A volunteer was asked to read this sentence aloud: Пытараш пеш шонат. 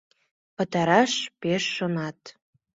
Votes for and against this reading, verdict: 2, 0, accepted